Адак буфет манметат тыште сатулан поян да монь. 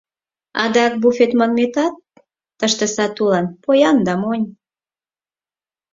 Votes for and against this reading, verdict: 4, 0, accepted